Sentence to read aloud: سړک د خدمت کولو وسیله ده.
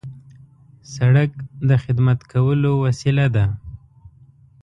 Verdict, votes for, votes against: accepted, 2, 0